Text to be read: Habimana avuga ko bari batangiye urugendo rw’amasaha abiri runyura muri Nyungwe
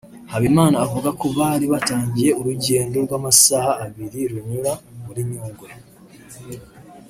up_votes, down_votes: 2, 0